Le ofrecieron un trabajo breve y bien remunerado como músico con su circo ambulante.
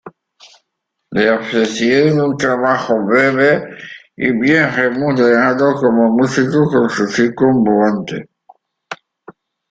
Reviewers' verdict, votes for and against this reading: rejected, 0, 2